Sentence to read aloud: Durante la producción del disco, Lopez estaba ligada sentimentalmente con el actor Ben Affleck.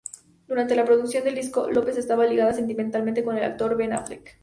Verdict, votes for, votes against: accepted, 2, 0